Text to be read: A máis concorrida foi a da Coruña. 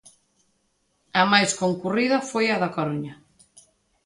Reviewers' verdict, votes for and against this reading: rejected, 0, 2